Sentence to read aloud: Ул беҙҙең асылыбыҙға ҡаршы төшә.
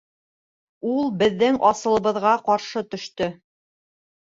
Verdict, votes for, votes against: rejected, 1, 2